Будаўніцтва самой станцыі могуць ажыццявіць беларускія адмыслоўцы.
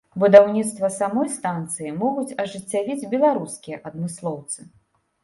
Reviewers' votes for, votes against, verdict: 2, 0, accepted